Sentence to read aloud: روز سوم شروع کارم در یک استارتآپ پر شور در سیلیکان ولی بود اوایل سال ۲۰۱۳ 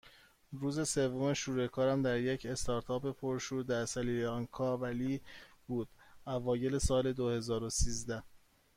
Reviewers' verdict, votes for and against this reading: rejected, 0, 2